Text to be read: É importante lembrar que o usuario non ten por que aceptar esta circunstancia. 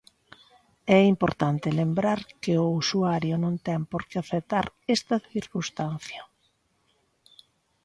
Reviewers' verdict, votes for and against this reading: accepted, 2, 0